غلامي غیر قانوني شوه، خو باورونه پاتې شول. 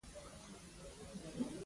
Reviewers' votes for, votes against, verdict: 0, 2, rejected